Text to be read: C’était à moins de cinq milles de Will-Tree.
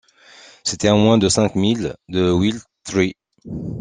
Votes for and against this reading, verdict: 2, 0, accepted